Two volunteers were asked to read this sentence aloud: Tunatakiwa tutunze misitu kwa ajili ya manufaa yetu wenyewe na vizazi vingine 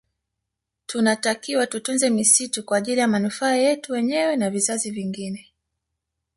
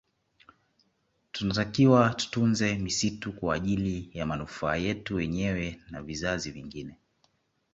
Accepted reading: second